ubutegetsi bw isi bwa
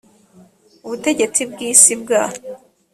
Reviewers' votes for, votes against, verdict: 2, 0, accepted